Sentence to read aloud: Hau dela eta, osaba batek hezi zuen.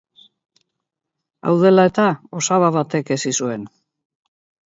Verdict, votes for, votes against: accepted, 8, 0